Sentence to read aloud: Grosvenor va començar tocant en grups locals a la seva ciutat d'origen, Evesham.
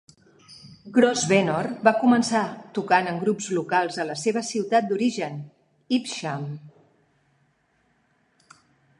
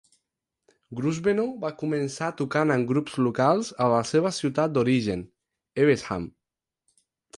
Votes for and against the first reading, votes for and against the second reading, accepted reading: 1, 2, 4, 0, second